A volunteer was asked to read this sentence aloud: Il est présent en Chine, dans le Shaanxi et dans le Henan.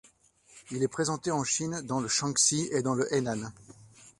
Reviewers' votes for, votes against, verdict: 0, 2, rejected